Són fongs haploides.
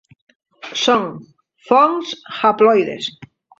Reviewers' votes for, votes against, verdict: 0, 3, rejected